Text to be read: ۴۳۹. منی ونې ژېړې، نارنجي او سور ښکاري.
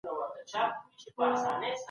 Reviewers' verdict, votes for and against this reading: rejected, 0, 2